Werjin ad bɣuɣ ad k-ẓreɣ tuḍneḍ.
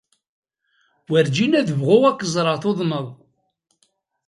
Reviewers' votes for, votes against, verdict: 1, 2, rejected